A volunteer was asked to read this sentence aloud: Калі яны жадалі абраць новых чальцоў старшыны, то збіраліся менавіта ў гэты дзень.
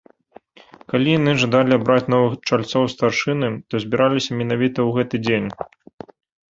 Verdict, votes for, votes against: accepted, 2, 0